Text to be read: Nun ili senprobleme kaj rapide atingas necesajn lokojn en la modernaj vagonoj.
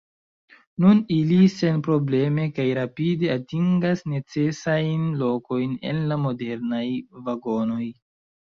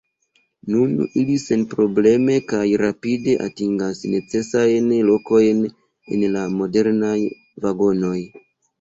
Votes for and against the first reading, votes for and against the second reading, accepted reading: 2, 0, 0, 2, first